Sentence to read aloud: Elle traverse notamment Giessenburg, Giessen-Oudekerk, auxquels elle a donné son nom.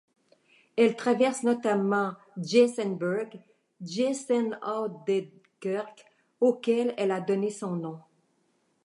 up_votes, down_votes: 1, 2